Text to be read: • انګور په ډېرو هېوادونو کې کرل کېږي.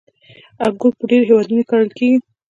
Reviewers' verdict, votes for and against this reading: accepted, 2, 1